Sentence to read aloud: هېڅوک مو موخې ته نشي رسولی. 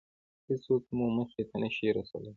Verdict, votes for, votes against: rejected, 0, 2